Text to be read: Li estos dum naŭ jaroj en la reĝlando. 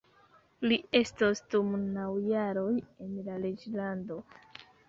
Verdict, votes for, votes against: rejected, 1, 2